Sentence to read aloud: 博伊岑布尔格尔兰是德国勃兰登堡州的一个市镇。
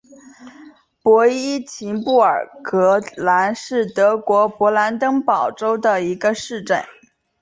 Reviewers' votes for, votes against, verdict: 2, 1, accepted